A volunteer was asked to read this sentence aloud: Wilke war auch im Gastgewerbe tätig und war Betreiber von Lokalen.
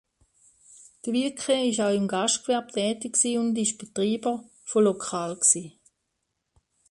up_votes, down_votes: 0, 2